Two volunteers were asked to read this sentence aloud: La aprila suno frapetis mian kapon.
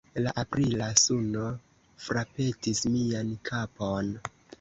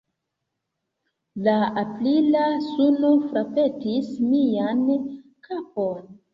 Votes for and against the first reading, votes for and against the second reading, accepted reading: 2, 1, 0, 2, first